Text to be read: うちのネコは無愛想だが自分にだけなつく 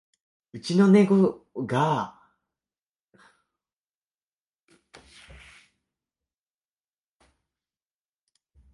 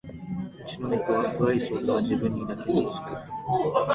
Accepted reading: second